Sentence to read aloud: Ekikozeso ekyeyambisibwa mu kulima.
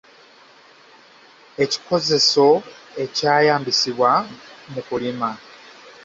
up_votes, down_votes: 0, 2